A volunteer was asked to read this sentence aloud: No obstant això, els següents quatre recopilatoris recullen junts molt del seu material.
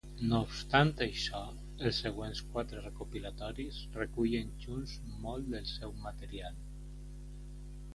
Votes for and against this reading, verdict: 2, 0, accepted